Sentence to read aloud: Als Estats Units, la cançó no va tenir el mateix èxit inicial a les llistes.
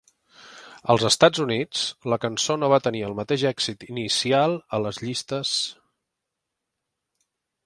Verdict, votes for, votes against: accepted, 3, 0